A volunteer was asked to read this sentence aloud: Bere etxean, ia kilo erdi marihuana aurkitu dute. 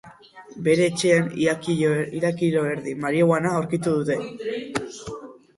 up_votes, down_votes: 2, 6